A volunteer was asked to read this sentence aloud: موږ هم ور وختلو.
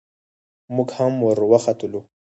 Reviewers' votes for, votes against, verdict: 2, 4, rejected